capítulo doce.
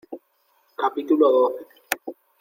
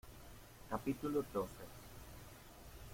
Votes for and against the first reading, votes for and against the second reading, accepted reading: 1, 2, 2, 0, second